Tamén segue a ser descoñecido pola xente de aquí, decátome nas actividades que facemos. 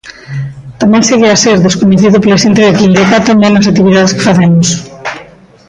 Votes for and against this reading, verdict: 0, 2, rejected